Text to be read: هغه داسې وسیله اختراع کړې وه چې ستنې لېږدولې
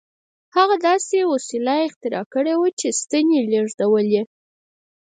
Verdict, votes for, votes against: accepted, 4, 0